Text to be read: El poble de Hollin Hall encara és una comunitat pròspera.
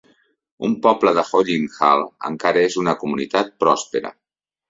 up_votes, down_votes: 2, 3